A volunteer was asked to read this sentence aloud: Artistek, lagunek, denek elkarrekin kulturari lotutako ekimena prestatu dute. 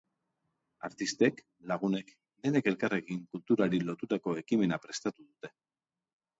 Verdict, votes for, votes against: accepted, 2, 0